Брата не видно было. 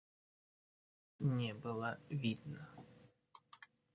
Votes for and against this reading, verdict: 0, 2, rejected